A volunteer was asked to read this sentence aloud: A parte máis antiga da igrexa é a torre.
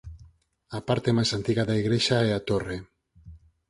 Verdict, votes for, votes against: accepted, 4, 0